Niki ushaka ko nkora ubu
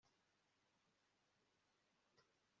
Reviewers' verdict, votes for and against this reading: rejected, 1, 2